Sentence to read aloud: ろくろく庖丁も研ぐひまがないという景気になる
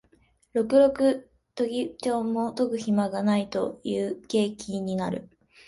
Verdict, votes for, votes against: rejected, 0, 2